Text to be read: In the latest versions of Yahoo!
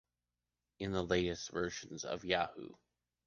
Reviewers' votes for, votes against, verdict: 2, 0, accepted